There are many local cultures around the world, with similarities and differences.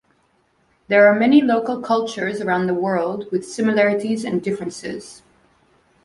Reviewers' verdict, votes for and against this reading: accepted, 2, 0